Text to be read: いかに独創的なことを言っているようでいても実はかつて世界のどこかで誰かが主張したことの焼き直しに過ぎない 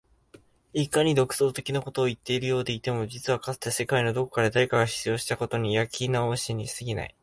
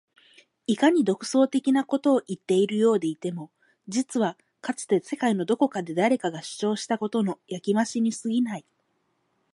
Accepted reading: first